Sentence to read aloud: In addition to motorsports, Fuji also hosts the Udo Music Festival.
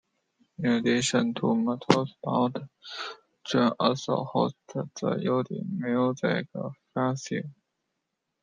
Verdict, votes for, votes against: rejected, 0, 2